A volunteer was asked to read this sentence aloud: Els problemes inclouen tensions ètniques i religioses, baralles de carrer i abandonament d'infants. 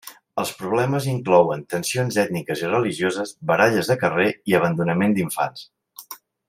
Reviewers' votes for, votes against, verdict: 3, 0, accepted